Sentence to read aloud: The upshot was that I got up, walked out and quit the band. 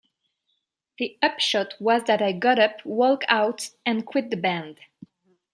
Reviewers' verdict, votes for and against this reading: rejected, 0, 2